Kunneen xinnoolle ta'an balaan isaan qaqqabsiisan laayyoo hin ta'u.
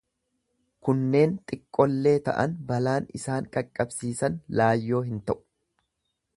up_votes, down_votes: 1, 2